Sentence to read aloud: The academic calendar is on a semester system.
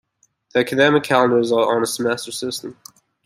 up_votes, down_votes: 2, 0